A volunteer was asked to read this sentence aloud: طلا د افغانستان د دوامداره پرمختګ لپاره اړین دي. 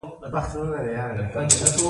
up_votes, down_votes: 1, 2